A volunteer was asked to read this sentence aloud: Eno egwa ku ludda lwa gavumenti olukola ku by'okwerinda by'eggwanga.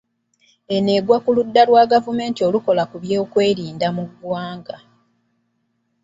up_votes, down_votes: 0, 2